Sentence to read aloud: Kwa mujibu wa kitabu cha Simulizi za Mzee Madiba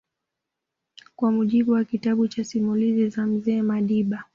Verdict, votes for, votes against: accepted, 2, 0